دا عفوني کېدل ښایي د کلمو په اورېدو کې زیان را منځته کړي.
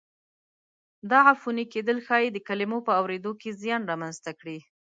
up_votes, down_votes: 2, 0